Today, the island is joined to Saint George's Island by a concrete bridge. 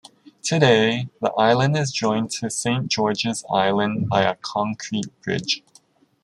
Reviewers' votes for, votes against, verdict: 2, 0, accepted